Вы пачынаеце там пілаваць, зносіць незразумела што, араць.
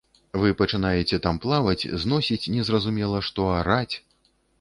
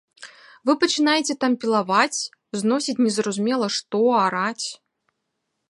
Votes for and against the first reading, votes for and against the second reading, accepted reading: 0, 2, 3, 0, second